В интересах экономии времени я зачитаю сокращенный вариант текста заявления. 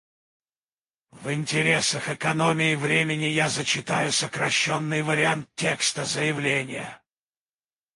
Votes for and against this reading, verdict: 4, 0, accepted